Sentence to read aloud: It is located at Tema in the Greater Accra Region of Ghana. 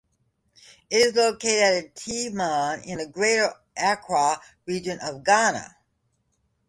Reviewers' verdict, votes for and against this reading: accepted, 2, 0